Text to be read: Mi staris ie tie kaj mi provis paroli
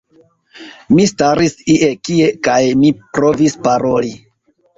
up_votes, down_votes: 2, 0